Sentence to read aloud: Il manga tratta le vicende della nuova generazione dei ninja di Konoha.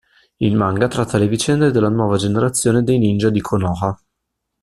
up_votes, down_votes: 2, 0